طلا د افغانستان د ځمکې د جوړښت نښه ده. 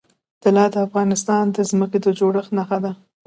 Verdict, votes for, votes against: accepted, 2, 0